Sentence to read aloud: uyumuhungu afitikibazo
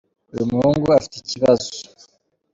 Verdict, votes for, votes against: accepted, 3, 2